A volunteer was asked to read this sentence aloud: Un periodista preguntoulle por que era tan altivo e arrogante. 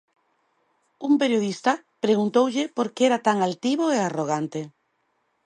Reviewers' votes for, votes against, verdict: 2, 0, accepted